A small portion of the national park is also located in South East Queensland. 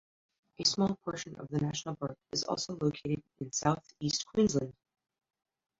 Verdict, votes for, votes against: rejected, 1, 2